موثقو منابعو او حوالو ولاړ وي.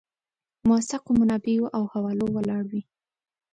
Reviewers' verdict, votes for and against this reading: accepted, 2, 0